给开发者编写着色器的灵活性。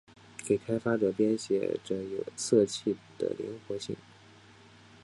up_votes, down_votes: 3, 0